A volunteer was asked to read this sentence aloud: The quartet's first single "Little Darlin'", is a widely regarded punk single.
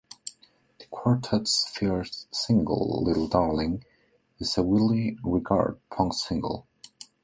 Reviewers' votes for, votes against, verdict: 0, 2, rejected